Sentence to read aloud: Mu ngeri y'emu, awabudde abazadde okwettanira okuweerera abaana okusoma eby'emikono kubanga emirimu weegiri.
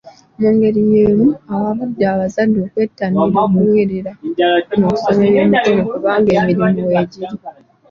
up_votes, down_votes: 2, 1